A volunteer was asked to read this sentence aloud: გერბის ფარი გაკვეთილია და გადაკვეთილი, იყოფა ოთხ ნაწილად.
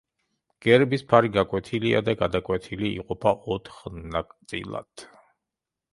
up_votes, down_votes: 0, 2